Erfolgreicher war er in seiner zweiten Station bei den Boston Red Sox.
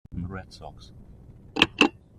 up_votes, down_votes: 0, 2